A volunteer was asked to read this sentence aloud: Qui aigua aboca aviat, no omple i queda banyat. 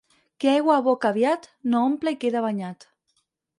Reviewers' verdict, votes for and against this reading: rejected, 2, 4